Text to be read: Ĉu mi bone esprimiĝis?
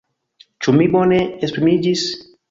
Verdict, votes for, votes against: accepted, 2, 1